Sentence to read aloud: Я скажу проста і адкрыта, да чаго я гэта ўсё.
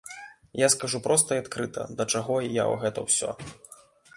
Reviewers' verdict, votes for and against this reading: accepted, 2, 1